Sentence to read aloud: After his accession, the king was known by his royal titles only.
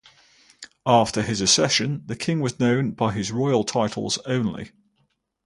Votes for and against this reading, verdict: 2, 0, accepted